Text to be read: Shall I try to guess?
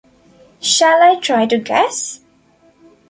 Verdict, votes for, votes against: accepted, 2, 0